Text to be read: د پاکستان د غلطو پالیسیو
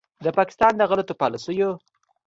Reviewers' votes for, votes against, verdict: 2, 0, accepted